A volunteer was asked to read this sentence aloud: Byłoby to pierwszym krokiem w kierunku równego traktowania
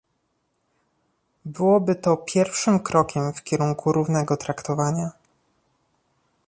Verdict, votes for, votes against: accepted, 2, 0